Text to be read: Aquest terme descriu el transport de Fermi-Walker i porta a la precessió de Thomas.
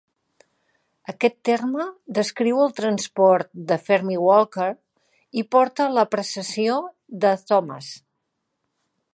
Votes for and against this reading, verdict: 2, 0, accepted